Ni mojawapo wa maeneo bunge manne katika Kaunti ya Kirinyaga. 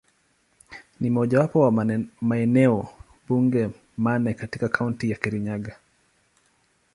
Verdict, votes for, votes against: rejected, 0, 2